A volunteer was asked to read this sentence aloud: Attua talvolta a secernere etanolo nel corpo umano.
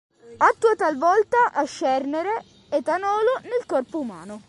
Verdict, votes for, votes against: rejected, 0, 2